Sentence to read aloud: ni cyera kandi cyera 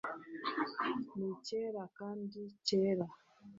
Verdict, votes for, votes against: accepted, 4, 0